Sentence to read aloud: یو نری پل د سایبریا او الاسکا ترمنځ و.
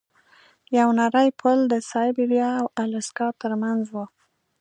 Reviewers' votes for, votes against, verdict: 2, 0, accepted